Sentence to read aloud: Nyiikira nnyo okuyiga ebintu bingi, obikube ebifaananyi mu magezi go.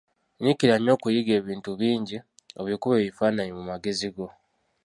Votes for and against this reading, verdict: 2, 0, accepted